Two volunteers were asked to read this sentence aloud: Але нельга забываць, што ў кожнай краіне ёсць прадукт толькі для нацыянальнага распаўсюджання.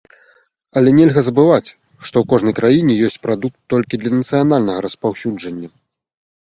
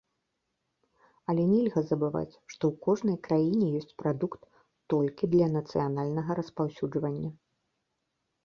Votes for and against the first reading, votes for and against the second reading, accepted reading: 2, 0, 0, 2, first